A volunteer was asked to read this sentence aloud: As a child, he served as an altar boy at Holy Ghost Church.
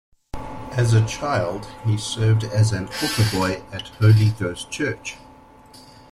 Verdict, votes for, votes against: accepted, 2, 1